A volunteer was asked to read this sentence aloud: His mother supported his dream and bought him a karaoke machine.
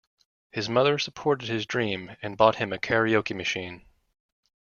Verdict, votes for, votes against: accepted, 2, 1